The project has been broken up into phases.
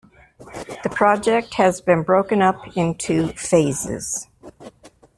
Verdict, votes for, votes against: rejected, 1, 2